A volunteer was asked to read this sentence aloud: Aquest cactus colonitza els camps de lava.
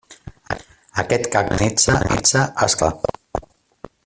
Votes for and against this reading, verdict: 0, 2, rejected